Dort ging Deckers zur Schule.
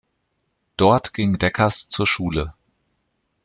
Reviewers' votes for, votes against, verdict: 2, 0, accepted